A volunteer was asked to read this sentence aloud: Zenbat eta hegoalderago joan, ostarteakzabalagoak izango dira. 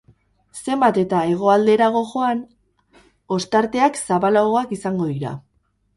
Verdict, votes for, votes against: rejected, 0, 2